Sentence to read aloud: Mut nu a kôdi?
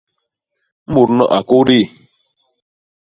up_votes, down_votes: 2, 0